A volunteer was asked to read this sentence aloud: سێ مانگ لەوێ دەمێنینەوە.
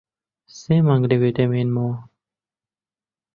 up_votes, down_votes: 0, 2